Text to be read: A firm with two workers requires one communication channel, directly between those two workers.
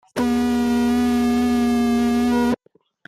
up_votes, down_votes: 0, 2